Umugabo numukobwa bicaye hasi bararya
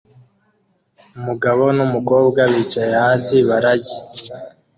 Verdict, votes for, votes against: rejected, 0, 2